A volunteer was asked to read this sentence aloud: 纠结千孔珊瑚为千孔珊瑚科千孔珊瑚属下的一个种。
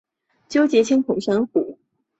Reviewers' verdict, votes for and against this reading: rejected, 0, 4